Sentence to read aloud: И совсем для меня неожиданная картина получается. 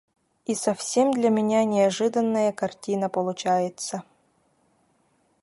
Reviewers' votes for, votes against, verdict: 0, 2, rejected